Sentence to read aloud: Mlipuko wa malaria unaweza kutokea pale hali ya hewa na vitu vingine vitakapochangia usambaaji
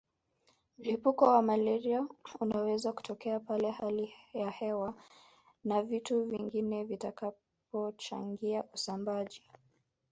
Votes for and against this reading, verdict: 2, 1, accepted